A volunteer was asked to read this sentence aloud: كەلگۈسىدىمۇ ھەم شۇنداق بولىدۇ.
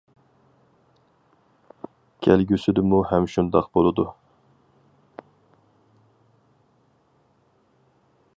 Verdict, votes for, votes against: accepted, 4, 0